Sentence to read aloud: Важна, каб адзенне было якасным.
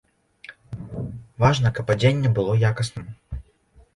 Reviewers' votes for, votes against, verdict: 2, 0, accepted